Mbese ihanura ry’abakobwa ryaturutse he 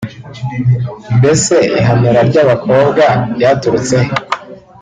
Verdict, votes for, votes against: rejected, 0, 2